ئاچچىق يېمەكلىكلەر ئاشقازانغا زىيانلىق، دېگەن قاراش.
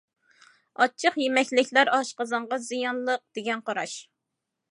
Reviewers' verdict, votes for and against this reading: accepted, 2, 0